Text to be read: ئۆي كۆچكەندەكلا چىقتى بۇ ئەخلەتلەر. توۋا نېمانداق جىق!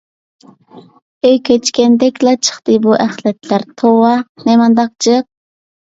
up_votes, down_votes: 2, 0